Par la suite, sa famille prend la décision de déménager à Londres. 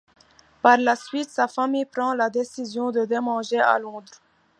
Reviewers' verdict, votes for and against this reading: accepted, 2, 1